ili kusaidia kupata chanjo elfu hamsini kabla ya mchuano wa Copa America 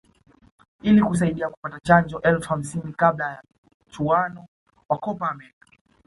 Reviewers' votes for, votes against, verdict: 2, 0, accepted